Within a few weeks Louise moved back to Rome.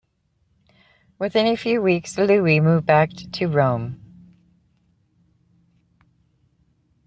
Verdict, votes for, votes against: rejected, 1, 2